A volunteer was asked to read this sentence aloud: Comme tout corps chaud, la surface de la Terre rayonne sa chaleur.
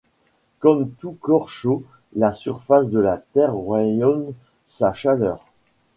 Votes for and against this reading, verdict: 3, 2, accepted